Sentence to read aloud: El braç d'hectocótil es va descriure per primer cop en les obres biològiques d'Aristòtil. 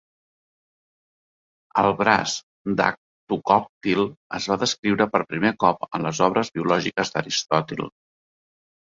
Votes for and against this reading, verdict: 1, 2, rejected